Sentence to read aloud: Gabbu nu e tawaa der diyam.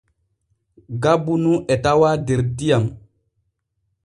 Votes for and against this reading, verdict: 2, 0, accepted